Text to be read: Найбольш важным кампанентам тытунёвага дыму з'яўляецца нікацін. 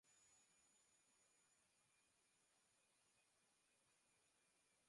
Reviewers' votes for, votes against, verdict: 0, 2, rejected